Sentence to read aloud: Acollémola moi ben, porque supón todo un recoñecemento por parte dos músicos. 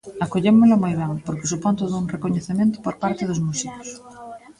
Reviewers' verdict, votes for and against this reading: rejected, 0, 2